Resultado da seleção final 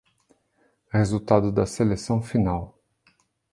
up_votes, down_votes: 2, 0